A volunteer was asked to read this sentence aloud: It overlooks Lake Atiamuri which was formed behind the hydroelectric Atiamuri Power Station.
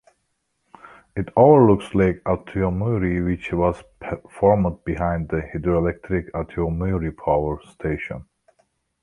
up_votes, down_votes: 1, 2